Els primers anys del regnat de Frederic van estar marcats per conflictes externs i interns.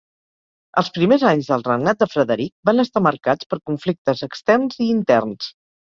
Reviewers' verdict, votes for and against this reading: accepted, 3, 0